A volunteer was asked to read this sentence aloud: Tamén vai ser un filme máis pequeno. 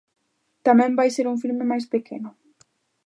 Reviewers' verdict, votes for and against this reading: accepted, 2, 0